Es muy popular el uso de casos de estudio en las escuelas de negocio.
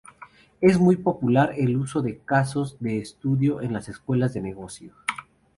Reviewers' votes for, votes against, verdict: 0, 2, rejected